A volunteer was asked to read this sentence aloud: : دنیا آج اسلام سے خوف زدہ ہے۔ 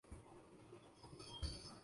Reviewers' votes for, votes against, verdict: 0, 3, rejected